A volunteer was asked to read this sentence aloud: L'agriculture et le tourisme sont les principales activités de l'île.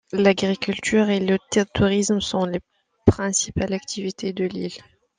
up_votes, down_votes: 0, 2